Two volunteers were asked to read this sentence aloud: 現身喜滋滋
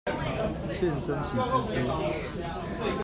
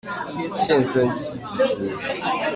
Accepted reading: first